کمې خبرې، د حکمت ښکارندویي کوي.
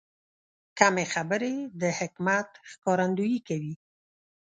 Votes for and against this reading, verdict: 2, 0, accepted